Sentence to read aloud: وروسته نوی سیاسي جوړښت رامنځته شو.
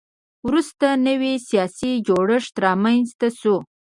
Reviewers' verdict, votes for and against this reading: rejected, 0, 2